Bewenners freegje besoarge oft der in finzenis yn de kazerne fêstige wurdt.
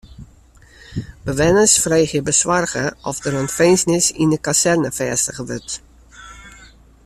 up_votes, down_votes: 2, 0